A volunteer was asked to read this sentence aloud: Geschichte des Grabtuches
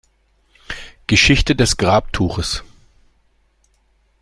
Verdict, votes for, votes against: accepted, 2, 0